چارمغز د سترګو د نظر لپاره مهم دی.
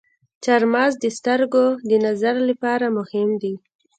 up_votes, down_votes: 1, 2